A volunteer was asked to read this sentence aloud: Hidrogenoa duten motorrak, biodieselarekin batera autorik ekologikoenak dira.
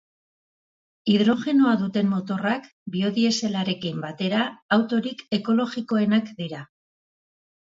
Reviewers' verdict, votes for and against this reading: accepted, 2, 0